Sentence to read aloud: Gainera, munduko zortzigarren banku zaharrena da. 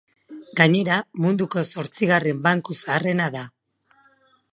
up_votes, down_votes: 2, 0